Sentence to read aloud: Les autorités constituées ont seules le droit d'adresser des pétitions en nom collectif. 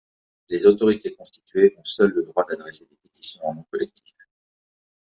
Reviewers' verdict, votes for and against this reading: rejected, 1, 2